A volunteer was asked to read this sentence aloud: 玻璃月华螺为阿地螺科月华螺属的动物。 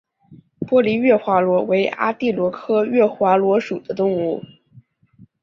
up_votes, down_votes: 2, 0